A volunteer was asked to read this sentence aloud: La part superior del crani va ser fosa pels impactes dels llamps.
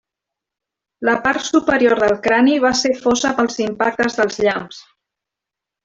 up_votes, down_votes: 2, 0